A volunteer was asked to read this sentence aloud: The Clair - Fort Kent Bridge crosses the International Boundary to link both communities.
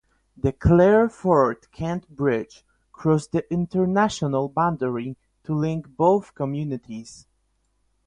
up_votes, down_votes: 0, 8